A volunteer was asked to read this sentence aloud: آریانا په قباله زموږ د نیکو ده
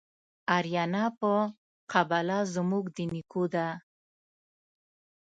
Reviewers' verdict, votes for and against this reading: rejected, 1, 2